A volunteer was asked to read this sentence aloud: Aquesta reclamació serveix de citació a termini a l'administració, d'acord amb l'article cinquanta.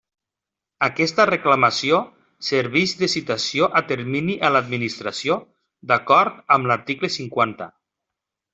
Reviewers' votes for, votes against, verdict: 1, 2, rejected